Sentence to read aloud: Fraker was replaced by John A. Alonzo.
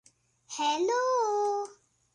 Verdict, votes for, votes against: rejected, 0, 2